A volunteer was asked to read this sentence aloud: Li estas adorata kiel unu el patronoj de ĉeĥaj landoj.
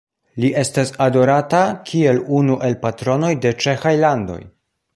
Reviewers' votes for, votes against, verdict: 2, 0, accepted